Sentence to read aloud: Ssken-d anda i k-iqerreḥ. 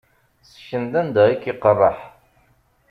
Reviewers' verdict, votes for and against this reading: accepted, 2, 0